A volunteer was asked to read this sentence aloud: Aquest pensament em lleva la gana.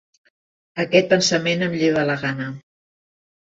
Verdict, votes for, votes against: accepted, 4, 0